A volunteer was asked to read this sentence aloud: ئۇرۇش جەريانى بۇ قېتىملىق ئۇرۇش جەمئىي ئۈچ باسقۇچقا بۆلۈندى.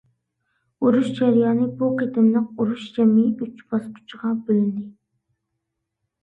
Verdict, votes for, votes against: rejected, 0, 2